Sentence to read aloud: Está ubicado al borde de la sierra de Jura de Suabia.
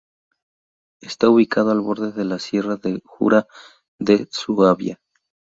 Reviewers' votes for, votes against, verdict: 0, 2, rejected